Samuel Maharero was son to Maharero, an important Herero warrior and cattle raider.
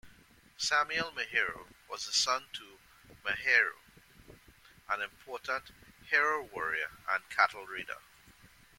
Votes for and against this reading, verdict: 0, 2, rejected